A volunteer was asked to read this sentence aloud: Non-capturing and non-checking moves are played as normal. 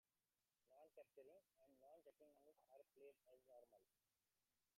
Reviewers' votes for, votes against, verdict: 0, 2, rejected